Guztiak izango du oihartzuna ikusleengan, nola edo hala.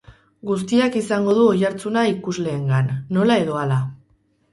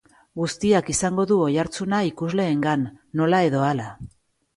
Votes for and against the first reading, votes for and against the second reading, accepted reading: 2, 2, 3, 0, second